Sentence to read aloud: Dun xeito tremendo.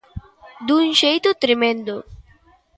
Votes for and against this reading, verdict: 2, 0, accepted